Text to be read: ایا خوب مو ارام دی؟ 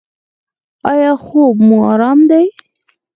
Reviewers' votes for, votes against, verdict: 4, 0, accepted